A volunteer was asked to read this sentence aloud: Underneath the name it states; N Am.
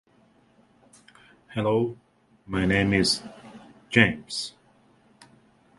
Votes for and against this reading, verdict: 0, 2, rejected